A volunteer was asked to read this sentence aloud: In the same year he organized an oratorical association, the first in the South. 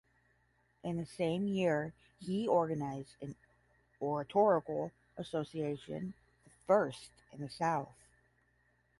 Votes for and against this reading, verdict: 5, 10, rejected